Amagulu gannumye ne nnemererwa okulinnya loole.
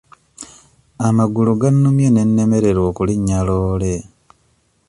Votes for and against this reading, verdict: 2, 0, accepted